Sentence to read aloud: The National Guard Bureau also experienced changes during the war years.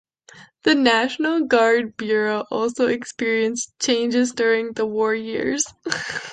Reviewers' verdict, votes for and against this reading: rejected, 1, 2